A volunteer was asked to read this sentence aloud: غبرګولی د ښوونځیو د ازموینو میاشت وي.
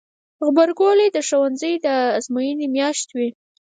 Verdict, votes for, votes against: rejected, 0, 4